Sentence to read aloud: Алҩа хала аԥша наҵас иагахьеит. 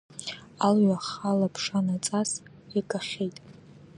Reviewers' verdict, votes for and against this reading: accepted, 2, 1